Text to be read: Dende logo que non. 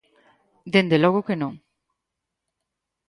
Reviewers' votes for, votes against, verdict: 4, 0, accepted